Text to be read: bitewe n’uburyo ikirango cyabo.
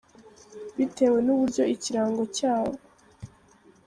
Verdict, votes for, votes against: accepted, 2, 0